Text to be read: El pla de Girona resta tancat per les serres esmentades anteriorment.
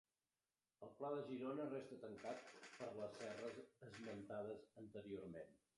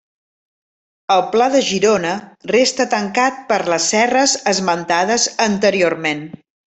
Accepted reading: second